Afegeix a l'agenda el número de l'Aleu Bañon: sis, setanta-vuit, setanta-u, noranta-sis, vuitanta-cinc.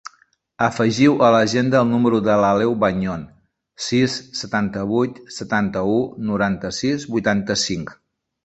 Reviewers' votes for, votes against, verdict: 1, 2, rejected